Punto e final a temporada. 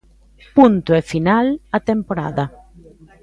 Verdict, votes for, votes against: accepted, 2, 0